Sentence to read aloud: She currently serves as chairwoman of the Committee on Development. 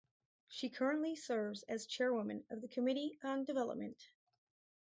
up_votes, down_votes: 4, 0